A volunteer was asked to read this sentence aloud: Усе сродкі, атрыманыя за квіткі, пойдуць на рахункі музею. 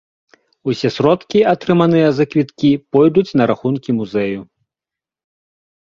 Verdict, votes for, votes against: rejected, 0, 2